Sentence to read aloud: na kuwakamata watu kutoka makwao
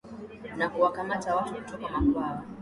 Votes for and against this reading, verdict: 6, 4, accepted